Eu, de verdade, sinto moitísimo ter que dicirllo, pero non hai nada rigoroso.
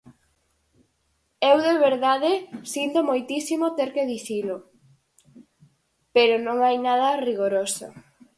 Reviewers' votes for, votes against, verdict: 2, 2, rejected